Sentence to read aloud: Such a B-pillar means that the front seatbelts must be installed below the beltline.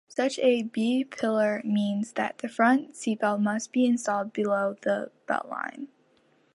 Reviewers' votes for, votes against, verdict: 2, 1, accepted